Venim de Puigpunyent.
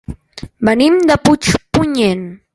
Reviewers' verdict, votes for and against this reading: accepted, 3, 0